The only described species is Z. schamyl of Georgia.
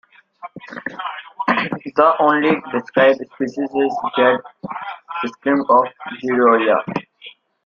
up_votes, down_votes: 0, 2